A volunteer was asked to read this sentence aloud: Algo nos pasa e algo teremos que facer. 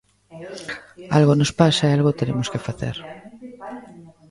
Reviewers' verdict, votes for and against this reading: rejected, 1, 2